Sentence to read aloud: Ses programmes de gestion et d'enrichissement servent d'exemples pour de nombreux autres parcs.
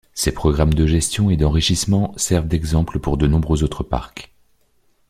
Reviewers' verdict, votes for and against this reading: accepted, 2, 0